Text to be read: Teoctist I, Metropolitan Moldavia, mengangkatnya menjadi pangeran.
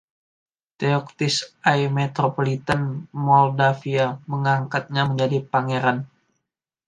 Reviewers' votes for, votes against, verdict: 1, 2, rejected